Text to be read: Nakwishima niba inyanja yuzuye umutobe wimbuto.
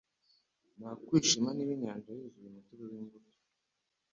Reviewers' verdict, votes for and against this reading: rejected, 0, 2